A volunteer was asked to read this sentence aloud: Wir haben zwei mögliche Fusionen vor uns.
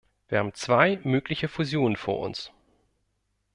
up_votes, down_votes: 2, 0